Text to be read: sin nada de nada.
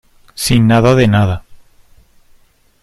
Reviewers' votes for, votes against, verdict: 2, 0, accepted